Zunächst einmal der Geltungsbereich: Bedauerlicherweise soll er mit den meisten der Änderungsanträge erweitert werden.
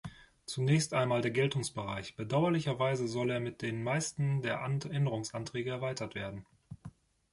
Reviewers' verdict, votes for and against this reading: rejected, 1, 2